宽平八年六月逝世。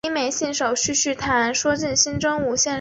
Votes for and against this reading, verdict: 0, 2, rejected